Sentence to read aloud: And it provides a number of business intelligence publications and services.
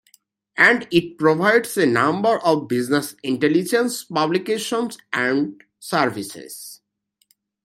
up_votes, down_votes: 2, 0